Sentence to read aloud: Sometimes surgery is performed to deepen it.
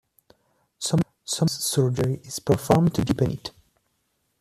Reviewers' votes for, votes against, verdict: 0, 2, rejected